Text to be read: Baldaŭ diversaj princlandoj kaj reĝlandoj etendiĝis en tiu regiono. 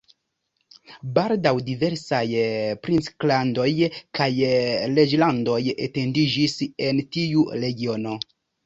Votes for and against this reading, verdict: 0, 2, rejected